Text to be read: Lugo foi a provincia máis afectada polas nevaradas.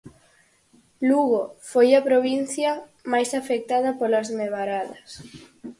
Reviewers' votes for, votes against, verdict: 4, 0, accepted